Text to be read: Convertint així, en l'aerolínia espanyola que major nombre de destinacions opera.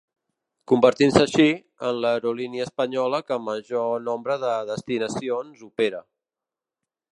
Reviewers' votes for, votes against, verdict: 1, 3, rejected